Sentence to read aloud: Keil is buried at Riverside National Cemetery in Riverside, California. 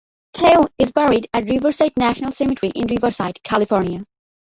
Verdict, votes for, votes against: rejected, 0, 2